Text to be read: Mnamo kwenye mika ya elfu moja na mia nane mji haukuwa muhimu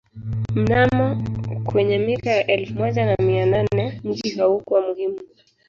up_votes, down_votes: 0, 2